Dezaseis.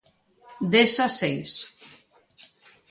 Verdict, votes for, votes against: accepted, 2, 0